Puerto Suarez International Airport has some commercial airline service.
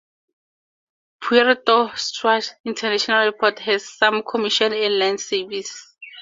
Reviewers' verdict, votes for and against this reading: rejected, 2, 4